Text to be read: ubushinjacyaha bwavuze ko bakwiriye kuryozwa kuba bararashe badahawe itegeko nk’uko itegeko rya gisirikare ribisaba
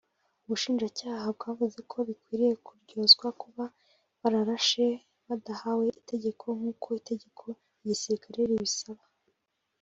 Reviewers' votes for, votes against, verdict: 1, 2, rejected